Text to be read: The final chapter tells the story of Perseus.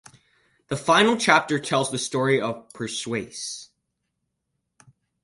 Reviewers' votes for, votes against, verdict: 4, 0, accepted